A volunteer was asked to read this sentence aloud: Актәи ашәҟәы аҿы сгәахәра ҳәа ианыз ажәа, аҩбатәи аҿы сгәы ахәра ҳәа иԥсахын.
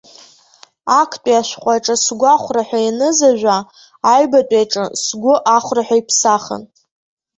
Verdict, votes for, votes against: accepted, 2, 0